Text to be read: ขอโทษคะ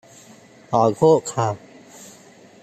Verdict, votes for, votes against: rejected, 0, 2